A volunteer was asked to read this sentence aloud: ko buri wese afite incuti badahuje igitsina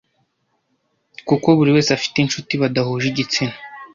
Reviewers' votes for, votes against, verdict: 0, 2, rejected